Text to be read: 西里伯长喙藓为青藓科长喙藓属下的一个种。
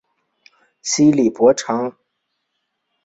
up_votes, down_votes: 0, 2